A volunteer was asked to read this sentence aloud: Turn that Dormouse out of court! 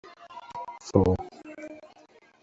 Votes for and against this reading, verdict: 0, 2, rejected